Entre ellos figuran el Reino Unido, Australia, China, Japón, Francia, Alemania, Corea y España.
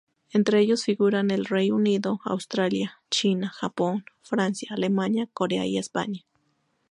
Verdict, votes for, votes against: accepted, 2, 0